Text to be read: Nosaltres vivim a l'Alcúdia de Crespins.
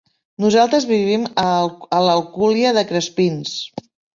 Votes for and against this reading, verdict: 0, 2, rejected